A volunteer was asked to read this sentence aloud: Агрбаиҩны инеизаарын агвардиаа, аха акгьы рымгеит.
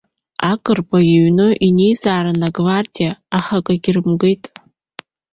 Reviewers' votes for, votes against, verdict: 2, 0, accepted